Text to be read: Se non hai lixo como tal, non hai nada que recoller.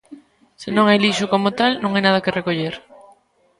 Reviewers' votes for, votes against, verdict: 2, 0, accepted